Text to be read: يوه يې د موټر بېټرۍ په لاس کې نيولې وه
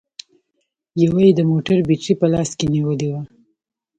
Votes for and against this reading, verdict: 0, 2, rejected